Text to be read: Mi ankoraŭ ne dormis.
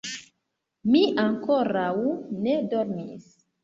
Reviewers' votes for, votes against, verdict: 0, 2, rejected